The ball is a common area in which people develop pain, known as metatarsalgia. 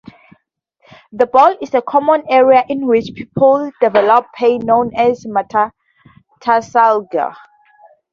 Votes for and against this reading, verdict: 2, 0, accepted